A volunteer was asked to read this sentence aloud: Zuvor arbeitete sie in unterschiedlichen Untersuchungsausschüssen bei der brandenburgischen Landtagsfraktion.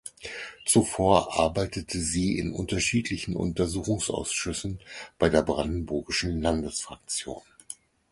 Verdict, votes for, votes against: rejected, 2, 4